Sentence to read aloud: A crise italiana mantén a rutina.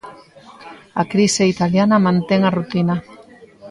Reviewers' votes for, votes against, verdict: 2, 0, accepted